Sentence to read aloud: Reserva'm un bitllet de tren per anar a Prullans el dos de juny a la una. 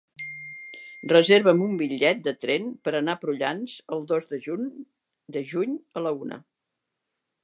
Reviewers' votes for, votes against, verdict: 0, 4, rejected